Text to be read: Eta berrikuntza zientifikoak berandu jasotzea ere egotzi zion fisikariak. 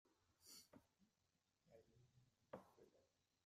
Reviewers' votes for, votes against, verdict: 0, 2, rejected